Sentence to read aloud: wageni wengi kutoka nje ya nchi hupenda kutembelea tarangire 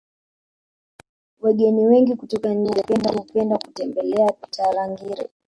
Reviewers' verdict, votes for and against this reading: rejected, 1, 2